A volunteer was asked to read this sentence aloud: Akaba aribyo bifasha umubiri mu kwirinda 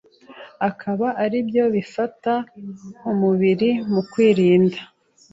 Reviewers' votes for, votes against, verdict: 1, 2, rejected